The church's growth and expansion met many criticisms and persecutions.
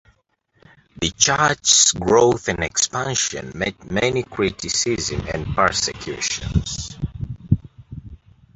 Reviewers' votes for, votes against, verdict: 1, 2, rejected